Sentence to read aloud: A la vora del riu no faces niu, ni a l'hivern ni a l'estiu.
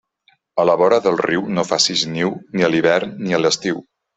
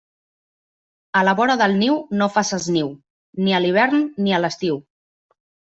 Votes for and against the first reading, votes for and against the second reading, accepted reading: 2, 0, 1, 2, first